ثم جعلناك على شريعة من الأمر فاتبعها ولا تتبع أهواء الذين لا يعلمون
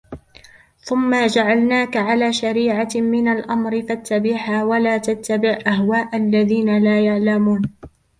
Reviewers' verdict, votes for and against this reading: rejected, 0, 2